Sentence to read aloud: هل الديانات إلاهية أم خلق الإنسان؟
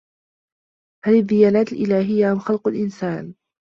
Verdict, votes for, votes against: accepted, 2, 1